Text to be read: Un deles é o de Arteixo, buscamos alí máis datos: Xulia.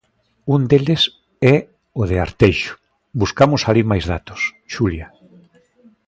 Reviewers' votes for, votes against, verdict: 2, 0, accepted